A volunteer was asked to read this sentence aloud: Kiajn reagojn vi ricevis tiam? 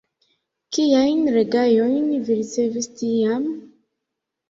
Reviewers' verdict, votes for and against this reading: rejected, 1, 2